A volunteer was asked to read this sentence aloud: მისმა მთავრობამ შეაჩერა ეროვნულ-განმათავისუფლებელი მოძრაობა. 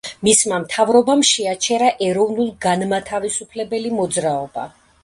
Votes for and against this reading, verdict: 2, 0, accepted